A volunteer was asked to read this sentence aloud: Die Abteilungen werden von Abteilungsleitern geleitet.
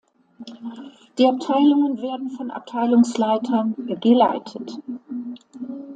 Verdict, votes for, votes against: accepted, 2, 0